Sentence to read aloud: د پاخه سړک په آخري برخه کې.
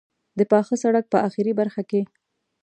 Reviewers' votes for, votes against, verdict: 0, 2, rejected